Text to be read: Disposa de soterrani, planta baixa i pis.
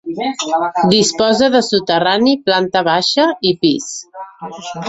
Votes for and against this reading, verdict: 0, 2, rejected